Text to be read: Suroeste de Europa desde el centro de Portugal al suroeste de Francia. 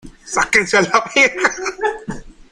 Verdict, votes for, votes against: rejected, 0, 2